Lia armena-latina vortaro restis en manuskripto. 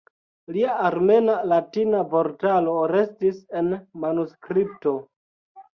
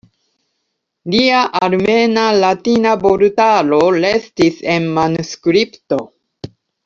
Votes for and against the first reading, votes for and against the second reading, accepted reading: 1, 2, 2, 1, second